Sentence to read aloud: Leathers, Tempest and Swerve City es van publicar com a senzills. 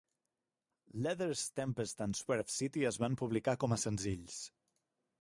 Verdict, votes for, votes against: accepted, 3, 0